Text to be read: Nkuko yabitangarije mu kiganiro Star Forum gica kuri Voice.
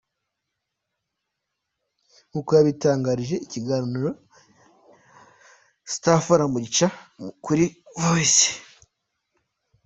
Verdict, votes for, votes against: accepted, 2, 0